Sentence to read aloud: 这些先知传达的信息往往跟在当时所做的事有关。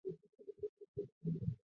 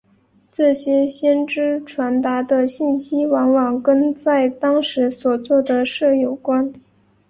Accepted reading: second